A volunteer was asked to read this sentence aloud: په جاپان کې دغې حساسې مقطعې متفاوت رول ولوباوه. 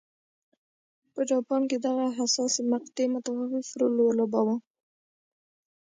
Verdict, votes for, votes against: rejected, 1, 2